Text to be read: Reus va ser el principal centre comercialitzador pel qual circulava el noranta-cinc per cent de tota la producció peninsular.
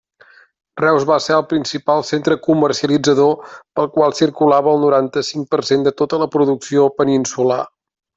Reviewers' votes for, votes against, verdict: 3, 0, accepted